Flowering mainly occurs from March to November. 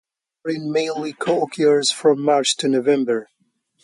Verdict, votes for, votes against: rejected, 0, 2